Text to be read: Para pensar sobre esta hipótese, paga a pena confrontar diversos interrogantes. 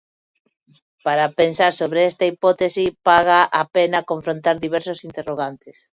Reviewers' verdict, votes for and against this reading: rejected, 0, 2